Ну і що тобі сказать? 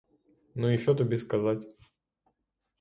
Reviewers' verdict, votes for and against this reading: rejected, 0, 3